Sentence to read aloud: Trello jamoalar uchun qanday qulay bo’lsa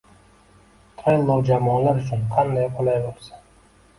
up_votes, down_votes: 2, 0